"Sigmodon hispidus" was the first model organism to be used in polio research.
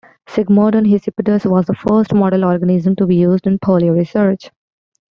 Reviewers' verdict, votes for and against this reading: accepted, 2, 0